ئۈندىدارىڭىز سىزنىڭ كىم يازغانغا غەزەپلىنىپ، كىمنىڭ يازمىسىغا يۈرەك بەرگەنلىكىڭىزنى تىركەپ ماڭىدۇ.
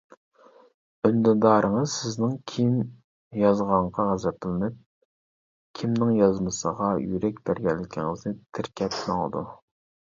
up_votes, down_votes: 1, 2